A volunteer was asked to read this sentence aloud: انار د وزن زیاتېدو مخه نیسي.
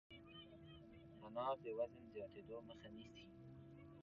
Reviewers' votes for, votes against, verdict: 2, 0, accepted